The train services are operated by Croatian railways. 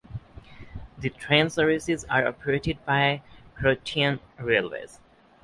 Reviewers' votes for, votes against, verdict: 6, 0, accepted